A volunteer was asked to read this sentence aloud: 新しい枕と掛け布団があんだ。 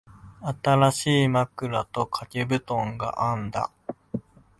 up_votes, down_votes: 2, 0